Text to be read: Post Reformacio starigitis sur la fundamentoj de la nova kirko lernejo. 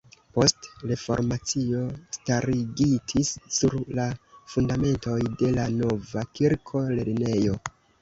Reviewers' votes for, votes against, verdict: 1, 2, rejected